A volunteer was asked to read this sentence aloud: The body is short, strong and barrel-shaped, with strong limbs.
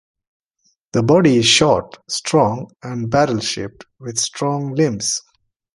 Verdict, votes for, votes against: accepted, 2, 0